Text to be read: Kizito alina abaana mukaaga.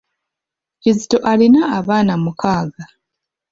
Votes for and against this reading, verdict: 2, 0, accepted